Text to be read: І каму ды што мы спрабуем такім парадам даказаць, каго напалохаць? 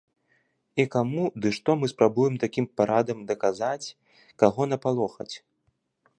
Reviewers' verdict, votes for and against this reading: accepted, 2, 0